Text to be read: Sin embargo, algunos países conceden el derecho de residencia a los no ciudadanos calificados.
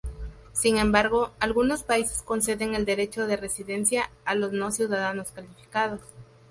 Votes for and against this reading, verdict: 0, 2, rejected